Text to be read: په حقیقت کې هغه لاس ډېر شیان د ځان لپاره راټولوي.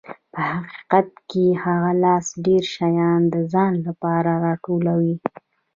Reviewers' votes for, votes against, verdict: 0, 2, rejected